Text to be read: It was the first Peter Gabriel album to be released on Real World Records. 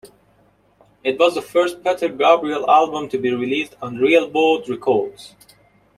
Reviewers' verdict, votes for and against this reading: accepted, 2, 1